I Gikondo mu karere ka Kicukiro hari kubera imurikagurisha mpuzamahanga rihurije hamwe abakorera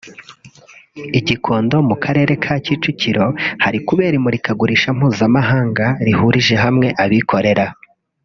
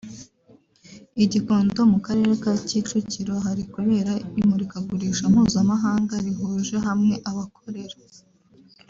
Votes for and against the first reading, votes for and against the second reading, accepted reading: 1, 2, 2, 0, second